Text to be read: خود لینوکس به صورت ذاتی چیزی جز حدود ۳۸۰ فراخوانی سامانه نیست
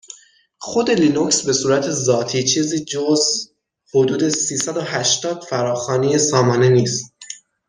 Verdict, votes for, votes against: rejected, 0, 2